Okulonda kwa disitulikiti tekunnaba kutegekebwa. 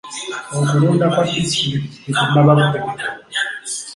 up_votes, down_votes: 1, 3